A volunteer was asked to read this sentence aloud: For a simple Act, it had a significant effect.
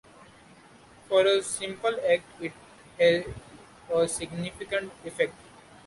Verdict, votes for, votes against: rejected, 1, 2